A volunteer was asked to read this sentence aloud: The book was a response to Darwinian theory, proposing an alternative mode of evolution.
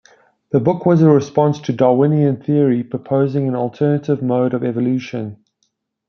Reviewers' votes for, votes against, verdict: 2, 0, accepted